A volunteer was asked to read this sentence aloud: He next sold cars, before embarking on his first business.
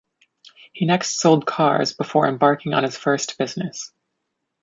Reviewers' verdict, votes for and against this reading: accepted, 2, 0